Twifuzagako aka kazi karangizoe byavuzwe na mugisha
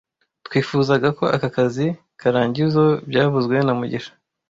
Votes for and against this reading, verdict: 1, 2, rejected